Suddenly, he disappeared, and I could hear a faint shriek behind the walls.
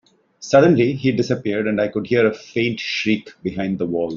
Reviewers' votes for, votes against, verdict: 1, 3, rejected